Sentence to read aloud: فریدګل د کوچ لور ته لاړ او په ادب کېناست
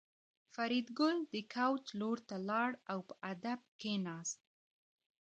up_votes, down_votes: 1, 2